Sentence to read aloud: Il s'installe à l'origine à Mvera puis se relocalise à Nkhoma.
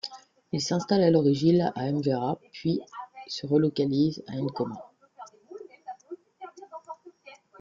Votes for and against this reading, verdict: 0, 2, rejected